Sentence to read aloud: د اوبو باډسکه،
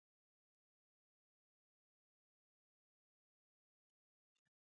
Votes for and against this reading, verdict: 0, 2, rejected